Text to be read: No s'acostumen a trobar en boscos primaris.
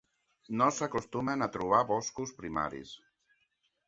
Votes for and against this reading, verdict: 1, 2, rejected